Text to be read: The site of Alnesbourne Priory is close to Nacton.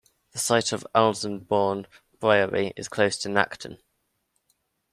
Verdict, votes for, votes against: accepted, 2, 1